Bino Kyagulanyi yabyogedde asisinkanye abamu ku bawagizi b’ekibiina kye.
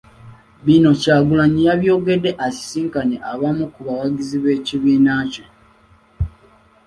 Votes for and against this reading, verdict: 2, 0, accepted